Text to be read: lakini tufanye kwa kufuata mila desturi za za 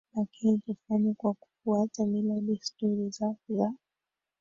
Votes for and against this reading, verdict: 1, 2, rejected